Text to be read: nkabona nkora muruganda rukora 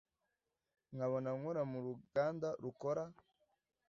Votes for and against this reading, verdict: 3, 0, accepted